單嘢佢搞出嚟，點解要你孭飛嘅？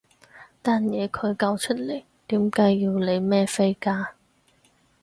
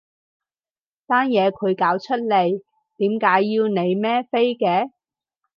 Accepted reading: second